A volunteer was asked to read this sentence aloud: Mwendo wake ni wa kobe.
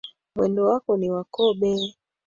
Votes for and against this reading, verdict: 1, 2, rejected